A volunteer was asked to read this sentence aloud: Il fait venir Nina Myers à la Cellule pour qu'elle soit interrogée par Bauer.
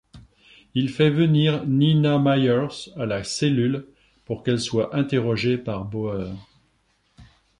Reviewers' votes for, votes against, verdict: 3, 1, accepted